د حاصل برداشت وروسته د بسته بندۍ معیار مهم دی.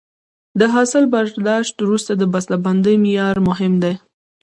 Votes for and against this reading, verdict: 2, 0, accepted